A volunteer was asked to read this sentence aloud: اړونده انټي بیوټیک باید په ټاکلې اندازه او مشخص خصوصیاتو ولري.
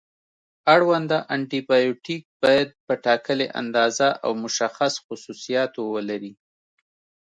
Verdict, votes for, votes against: accepted, 2, 0